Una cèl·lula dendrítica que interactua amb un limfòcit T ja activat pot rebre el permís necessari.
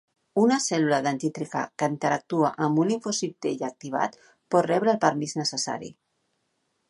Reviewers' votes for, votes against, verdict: 1, 2, rejected